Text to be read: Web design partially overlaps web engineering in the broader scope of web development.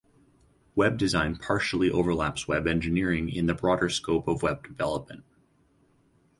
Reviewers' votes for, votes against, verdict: 4, 0, accepted